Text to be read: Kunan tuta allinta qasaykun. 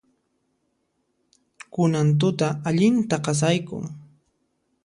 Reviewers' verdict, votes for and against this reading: accepted, 2, 0